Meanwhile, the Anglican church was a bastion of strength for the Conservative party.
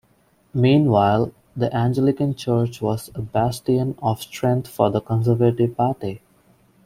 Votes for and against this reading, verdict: 0, 2, rejected